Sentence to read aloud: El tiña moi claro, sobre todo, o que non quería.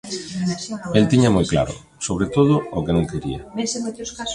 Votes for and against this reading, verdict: 1, 2, rejected